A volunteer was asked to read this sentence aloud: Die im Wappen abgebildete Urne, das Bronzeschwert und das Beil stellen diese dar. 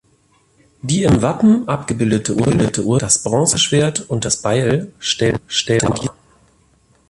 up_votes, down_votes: 0, 2